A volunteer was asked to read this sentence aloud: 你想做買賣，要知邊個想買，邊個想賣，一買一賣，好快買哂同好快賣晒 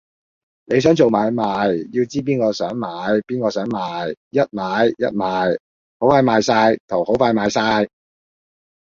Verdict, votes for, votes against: rejected, 0, 2